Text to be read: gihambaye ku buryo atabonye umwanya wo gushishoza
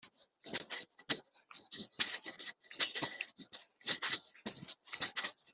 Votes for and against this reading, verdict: 1, 2, rejected